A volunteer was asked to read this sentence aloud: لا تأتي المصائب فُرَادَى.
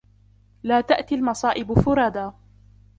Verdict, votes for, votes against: rejected, 1, 2